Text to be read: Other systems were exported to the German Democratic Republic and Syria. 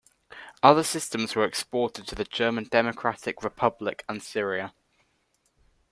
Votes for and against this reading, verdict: 2, 0, accepted